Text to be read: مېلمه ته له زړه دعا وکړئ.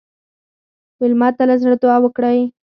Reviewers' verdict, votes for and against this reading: accepted, 4, 0